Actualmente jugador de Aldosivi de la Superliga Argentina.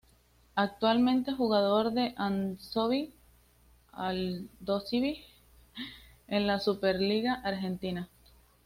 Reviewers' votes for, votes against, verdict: 2, 1, accepted